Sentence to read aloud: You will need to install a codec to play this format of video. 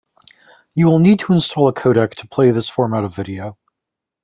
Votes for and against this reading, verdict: 2, 0, accepted